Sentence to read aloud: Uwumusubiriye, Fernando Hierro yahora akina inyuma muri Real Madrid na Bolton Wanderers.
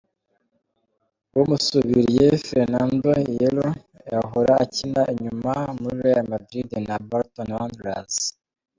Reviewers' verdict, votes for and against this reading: accepted, 2, 0